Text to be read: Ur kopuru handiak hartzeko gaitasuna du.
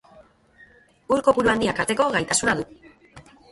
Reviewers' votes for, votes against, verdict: 0, 2, rejected